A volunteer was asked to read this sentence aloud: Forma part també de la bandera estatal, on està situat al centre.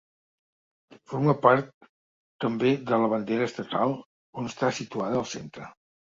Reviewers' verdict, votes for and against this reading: rejected, 0, 2